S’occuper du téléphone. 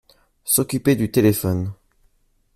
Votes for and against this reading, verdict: 2, 0, accepted